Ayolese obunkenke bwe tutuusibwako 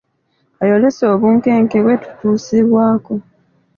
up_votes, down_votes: 2, 0